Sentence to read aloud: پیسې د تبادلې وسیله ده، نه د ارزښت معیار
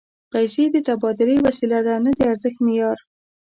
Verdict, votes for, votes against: accepted, 2, 0